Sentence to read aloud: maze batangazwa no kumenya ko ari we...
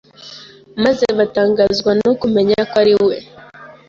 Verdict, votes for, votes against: accepted, 2, 0